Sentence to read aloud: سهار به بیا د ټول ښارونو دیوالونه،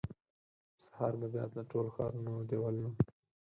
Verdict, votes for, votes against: rejected, 2, 4